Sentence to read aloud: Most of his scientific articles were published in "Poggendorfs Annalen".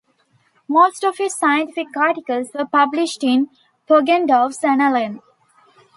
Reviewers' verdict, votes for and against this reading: rejected, 1, 2